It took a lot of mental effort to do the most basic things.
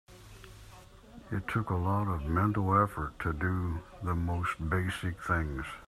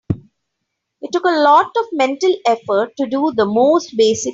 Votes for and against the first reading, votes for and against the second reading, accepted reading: 2, 0, 0, 3, first